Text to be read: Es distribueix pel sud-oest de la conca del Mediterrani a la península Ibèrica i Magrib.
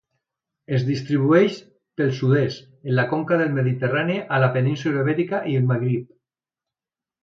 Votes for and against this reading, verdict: 0, 2, rejected